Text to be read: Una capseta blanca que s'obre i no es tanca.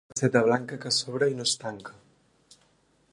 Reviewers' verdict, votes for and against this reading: rejected, 0, 2